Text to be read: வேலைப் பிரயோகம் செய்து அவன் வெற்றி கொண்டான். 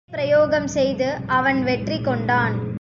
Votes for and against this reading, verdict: 0, 2, rejected